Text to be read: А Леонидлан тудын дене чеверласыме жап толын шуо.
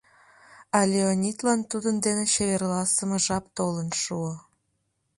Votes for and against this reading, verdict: 2, 0, accepted